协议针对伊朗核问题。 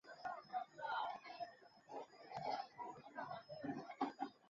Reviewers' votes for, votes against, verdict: 0, 2, rejected